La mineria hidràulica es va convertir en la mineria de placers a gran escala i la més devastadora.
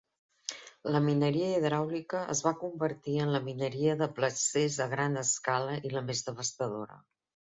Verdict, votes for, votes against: accepted, 3, 0